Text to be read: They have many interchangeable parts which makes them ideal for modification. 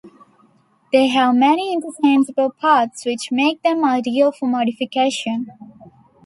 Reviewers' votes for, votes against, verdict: 0, 2, rejected